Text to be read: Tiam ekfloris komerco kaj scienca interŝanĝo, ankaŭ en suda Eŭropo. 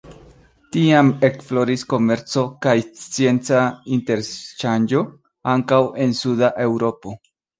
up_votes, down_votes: 2, 0